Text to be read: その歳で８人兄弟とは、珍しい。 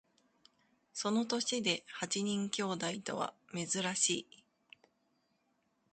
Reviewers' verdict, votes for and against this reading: rejected, 0, 2